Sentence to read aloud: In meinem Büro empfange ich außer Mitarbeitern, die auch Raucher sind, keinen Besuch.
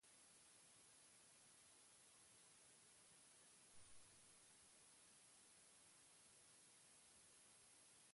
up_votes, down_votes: 0, 4